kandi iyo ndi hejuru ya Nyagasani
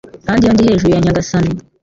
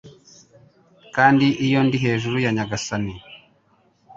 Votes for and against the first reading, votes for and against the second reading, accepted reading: 0, 2, 2, 0, second